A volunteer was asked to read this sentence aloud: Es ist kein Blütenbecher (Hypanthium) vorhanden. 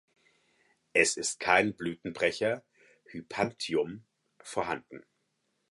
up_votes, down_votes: 2, 4